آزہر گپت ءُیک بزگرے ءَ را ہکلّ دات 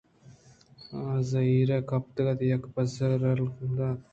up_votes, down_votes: 0, 2